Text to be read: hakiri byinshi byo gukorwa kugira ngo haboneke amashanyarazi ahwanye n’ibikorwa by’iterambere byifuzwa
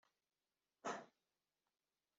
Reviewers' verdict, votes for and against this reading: rejected, 0, 2